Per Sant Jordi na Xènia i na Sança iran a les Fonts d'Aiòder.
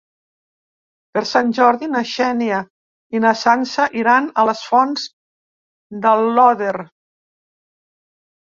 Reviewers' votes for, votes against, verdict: 0, 2, rejected